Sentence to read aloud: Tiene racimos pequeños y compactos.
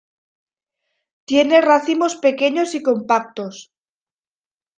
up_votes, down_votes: 2, 0